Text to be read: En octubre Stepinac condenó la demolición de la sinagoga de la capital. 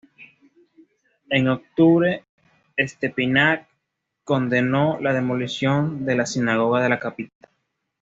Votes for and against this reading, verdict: 0, 2, rejected